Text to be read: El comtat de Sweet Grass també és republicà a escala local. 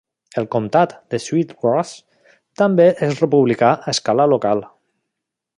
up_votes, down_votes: 1, 2